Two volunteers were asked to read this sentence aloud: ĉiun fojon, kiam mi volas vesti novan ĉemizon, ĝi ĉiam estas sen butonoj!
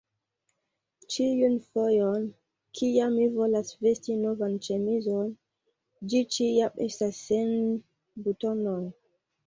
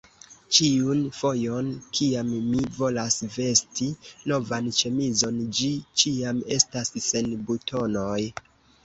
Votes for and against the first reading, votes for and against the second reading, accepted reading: 2, 1, 0, 2, first